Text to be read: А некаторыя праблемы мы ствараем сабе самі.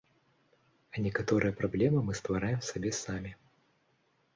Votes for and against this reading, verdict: 2, 0, accepted